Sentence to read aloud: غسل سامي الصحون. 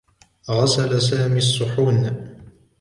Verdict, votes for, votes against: accepted, 2, 0